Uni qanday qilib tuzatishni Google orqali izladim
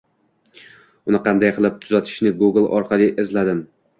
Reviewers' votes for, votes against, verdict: 2, 0, accepted